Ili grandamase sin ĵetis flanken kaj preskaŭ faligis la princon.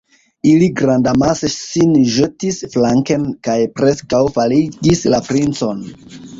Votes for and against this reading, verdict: 2, 0, accepted